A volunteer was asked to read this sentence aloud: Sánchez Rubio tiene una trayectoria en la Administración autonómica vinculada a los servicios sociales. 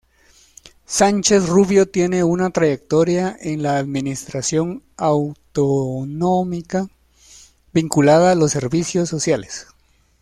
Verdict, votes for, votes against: rejected, 1, 2